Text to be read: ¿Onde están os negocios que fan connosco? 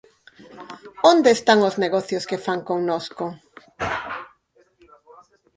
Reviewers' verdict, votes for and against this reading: rejected, 2, 4